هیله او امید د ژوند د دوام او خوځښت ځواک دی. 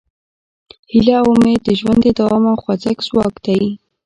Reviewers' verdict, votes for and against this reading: accepted, 2, 0